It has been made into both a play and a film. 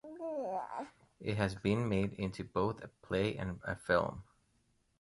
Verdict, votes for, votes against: accepted, 2, 1